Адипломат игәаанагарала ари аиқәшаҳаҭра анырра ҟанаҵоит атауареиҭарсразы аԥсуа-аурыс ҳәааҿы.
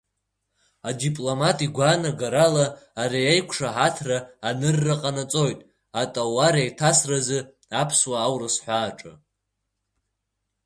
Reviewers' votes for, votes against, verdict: 2, 0, accepted